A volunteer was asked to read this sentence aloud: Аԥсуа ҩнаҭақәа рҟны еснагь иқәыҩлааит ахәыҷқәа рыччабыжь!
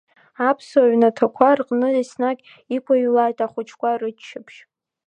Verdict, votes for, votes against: rejected, 0, 2